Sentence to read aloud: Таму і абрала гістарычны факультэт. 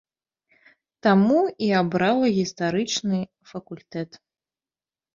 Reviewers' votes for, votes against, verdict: 2, 0, accepted